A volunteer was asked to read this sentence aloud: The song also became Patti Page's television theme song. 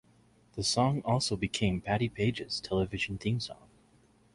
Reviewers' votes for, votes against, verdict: 2, 0, accepted